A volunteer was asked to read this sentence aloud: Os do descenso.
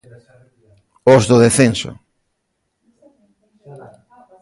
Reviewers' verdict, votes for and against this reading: rejected, 0, 2